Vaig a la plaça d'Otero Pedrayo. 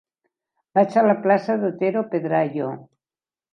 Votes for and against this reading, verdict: 3, 0, accepted